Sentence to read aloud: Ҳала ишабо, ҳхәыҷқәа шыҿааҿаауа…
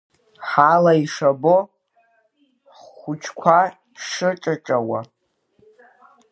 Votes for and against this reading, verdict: 0, 2, rejected